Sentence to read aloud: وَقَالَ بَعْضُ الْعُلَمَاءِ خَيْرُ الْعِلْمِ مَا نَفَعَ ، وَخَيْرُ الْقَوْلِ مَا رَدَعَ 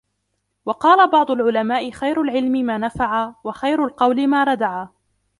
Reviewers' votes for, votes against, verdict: 1, 2, rejected